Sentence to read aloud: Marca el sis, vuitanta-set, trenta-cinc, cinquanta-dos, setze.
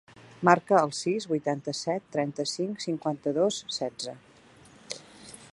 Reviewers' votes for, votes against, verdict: 3, 0, accepted